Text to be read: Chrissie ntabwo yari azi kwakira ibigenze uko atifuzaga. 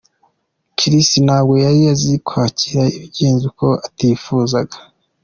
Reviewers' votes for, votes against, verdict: 2, 0, accepted